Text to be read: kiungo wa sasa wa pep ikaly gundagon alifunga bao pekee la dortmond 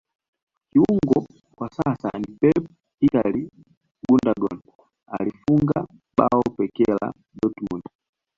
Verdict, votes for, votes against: rejected, 1, 2